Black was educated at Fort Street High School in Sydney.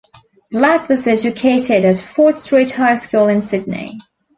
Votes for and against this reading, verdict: 2, 0, accepted